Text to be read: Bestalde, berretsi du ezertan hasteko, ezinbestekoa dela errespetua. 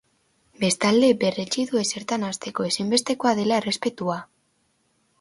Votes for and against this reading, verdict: 2, 0, accepted